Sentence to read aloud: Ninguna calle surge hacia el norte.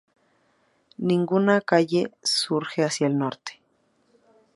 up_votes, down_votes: 2, 0